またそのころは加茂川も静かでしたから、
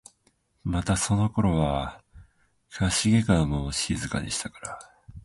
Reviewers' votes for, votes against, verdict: 0, 2, rejected